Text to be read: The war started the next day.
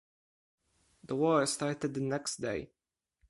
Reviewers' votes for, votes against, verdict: 4, 0, accepted